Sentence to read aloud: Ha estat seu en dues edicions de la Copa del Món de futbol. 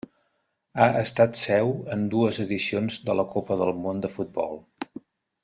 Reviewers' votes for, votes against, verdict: 3, 0, accepted